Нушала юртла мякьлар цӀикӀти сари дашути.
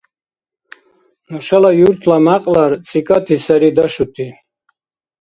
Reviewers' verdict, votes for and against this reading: rejected, 1, 2